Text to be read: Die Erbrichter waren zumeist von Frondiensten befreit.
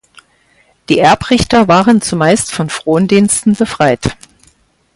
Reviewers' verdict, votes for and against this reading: accepted, 4, 0